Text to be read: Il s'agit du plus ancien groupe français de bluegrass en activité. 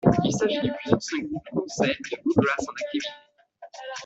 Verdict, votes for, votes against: rejected, 1, 2